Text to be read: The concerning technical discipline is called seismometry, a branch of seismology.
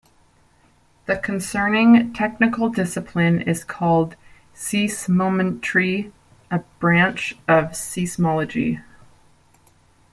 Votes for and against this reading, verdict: 1, 2, rejected